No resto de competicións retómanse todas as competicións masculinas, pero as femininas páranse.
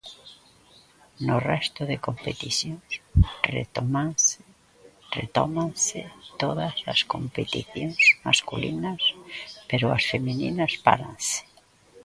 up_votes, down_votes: 0, 2